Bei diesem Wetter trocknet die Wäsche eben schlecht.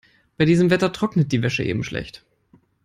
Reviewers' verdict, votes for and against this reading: accepted, 4, 0